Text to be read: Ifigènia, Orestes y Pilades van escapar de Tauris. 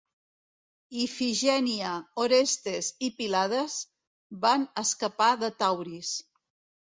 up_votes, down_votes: 2, 1